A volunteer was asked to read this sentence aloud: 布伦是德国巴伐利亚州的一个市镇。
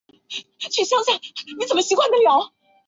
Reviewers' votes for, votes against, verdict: 0, 2, rejected